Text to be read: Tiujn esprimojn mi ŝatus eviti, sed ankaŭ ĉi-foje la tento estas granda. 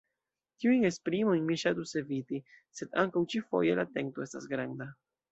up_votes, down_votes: 2, 0